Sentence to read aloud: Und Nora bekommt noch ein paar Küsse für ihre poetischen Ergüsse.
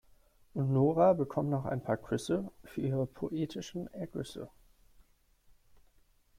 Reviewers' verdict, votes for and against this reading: accepted, 2, 0